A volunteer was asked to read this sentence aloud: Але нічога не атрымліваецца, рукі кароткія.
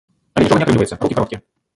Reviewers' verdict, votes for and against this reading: rejected, 0, 2